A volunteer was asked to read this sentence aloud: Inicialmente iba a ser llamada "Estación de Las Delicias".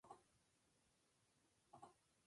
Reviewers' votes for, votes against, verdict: 0, 2, rejected